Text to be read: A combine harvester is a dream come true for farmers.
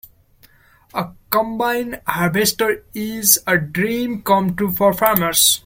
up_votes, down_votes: 2, 0